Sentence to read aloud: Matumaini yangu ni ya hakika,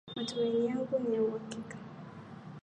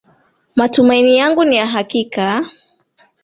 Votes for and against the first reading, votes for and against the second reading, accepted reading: 1, 3, 4, 0, second